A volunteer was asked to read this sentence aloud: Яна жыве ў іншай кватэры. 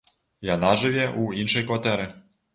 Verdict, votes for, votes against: accepted, 2, 0